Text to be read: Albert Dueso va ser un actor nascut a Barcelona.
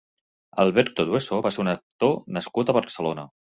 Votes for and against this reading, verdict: 0, 2, rejected